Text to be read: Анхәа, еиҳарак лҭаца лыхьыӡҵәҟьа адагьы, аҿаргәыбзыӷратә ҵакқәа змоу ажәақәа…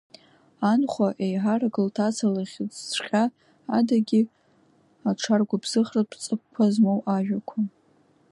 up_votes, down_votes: 2, 0